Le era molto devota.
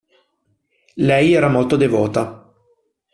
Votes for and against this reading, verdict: 1, 2, rejected